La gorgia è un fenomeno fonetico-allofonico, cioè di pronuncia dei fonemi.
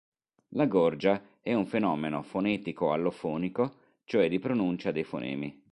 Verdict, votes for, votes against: accepted, 3, 0